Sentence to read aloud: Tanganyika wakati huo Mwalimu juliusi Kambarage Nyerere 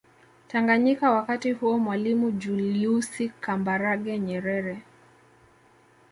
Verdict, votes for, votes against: rejected, 0, 2